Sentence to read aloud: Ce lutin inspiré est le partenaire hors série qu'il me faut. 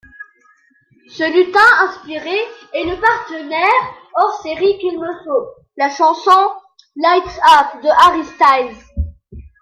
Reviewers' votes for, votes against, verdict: 0, 2, rejected